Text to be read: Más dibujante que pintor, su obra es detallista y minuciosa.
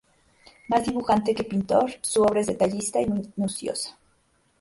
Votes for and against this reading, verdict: 0, 2, rejected